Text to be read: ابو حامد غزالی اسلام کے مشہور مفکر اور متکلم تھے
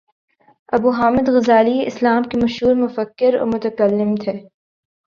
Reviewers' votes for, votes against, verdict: 3, 0, accepted